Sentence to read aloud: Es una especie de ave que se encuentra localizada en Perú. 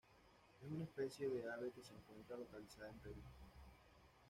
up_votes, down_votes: 0, 2